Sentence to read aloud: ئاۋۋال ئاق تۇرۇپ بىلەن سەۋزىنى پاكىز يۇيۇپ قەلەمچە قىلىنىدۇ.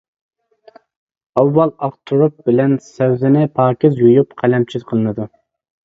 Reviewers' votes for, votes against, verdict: 2, 0, accepted